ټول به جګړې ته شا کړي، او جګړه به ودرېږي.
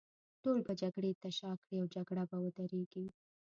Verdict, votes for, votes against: accepted, 2, 0